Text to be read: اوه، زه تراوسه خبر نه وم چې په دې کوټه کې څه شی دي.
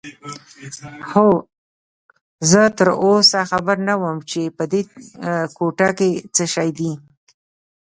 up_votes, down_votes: 2, 0